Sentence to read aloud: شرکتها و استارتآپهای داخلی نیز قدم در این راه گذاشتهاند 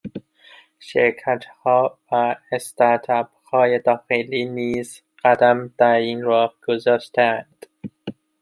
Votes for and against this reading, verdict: 0, 2, rejected